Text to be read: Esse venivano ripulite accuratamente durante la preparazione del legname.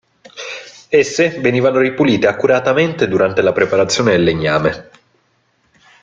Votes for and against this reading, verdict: 2, 0, accepted